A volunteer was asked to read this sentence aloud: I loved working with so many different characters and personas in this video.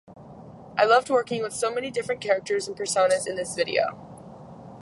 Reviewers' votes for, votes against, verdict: 2, 0, accepted